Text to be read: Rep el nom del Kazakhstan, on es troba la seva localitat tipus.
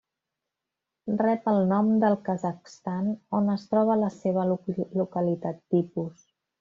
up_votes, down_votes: 1, 2